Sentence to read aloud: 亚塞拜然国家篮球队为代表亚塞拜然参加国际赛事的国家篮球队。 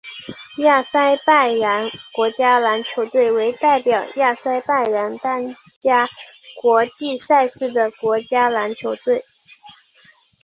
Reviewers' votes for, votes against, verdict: 2, 0, accepted